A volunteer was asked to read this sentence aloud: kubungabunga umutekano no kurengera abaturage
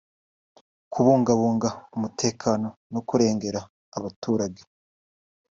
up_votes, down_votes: 3, 0